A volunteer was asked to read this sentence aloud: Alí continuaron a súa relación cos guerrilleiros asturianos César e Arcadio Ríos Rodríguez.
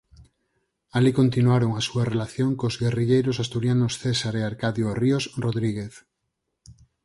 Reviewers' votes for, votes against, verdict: 4, 0, accepted